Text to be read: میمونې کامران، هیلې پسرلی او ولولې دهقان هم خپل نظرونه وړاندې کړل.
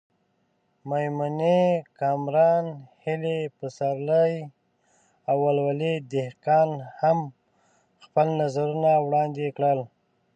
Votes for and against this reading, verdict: 0, 2, rejected